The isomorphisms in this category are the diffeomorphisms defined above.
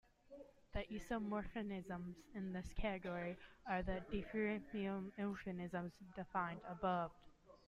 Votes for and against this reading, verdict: 2, 0, accepted